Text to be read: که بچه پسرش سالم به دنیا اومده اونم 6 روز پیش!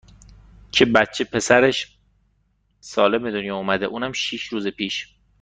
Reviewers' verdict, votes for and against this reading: rejected, 0, 2